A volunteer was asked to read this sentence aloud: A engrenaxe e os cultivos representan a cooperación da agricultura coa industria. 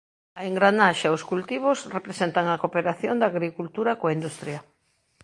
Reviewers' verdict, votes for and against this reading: rejected, 1, 2